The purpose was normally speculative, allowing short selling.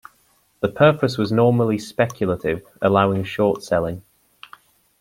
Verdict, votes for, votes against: accepted, 2, 0